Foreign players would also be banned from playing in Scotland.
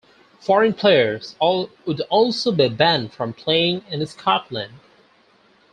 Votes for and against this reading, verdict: 0, 4, rejected